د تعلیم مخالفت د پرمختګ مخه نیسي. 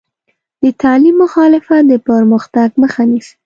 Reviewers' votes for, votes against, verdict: 2, 0, accepted